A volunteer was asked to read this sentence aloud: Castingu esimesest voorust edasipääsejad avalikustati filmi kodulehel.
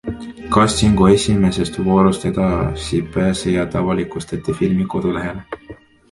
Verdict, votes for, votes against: accepted, 2, 1